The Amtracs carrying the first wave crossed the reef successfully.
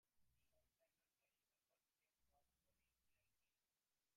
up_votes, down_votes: 0, 4